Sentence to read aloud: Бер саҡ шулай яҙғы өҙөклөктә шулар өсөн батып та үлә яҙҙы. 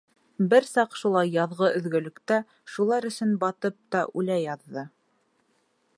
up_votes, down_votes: 1, 3